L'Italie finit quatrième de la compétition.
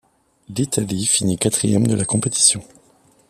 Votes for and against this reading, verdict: 2, 0, accepted